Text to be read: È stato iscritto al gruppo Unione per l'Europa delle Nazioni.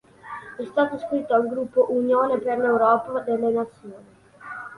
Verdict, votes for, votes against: accepted, 2, 1